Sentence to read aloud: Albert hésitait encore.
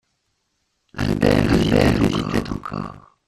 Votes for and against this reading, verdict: 0, 2, rejected